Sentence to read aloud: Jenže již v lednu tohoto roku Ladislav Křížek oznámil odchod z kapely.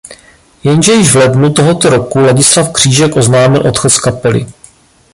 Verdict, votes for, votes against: rejected, 1, 2